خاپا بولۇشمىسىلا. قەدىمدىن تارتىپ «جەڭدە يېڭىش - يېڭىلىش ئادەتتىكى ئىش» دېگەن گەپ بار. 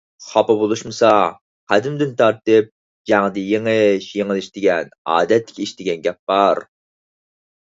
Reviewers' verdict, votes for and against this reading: rejected, 2, 4